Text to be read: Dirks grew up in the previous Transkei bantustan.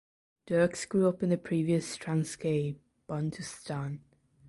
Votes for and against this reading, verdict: 2, 0, accepted